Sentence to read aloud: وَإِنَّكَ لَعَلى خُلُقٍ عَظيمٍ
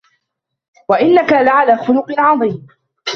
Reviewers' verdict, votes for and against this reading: accepted, 2, 1